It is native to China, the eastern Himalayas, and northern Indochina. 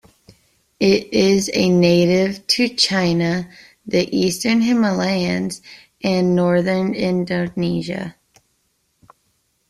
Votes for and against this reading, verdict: 0, 2, rejected